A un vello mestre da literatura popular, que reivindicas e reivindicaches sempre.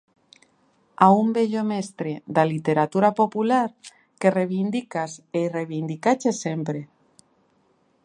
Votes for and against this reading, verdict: 2, 0, accepted